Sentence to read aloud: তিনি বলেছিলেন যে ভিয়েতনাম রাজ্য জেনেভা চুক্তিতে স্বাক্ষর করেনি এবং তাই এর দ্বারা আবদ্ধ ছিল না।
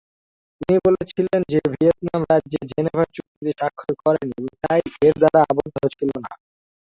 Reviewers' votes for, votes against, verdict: 3, 10, rejected